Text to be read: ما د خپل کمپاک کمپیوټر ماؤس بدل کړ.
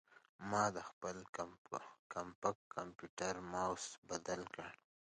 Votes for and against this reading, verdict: 2, 1, accepted